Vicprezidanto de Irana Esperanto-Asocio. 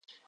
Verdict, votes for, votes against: accepted, 2, 1